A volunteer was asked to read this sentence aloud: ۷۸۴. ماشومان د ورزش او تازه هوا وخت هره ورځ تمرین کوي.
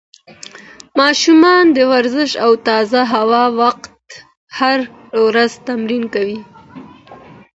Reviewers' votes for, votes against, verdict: 0, 2, rejected